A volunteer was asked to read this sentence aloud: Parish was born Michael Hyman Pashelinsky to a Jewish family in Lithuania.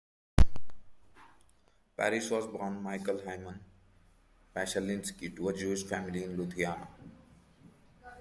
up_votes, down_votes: 2, 1